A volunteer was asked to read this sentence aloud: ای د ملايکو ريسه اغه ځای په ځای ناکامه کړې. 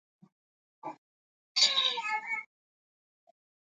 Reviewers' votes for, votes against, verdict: 0, 2, rejected